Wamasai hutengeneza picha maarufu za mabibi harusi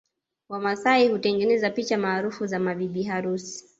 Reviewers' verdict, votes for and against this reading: accepted, 2, 0